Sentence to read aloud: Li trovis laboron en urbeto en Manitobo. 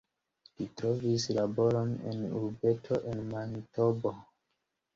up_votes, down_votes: 2, 0